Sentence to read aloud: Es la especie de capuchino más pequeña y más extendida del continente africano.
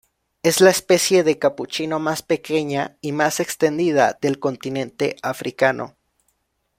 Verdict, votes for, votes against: rejected, 1, 2